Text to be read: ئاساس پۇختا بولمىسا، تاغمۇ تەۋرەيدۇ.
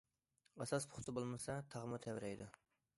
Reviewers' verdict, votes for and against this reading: accepted, 2, 0